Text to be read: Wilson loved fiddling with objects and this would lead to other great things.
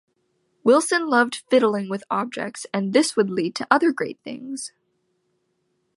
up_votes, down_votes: 2, 0